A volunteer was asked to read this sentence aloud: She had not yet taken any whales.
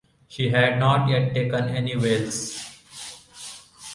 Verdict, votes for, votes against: accepted, 2, 0